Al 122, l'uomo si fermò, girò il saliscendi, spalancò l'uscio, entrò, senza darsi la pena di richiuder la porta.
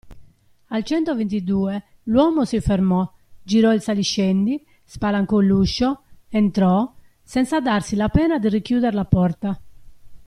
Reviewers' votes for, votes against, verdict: 0, 2, rejected